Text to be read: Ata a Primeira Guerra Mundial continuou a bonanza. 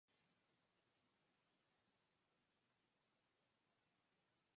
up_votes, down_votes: 0, 4